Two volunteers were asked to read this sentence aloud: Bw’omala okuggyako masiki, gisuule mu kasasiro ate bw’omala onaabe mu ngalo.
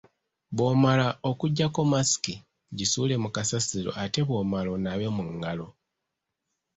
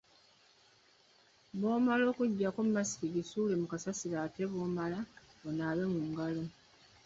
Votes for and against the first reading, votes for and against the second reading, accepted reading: 2, 0, 0, 2, first